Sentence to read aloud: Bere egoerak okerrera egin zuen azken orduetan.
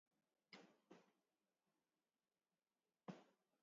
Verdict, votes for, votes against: rejected, 0, 2